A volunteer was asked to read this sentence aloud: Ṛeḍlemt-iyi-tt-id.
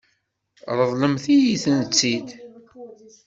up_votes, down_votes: 1, 2